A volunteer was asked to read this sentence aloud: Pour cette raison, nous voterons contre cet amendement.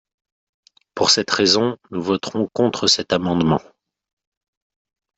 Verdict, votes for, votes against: accepted, 5, 0